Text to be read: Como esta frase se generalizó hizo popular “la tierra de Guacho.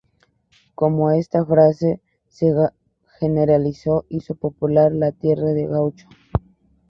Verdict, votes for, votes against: accepted, 2, 0